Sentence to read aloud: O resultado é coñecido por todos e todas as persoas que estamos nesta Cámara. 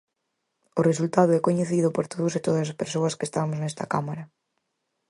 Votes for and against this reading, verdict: 4, 0, accepted